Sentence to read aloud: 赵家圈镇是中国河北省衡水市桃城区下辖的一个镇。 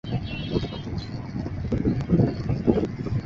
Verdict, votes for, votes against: rejected, 0, 3